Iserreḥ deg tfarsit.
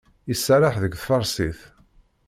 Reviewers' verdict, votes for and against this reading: accepted, 2, 1